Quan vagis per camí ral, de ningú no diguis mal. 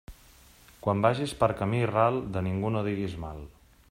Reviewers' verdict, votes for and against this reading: accepted, 3, 0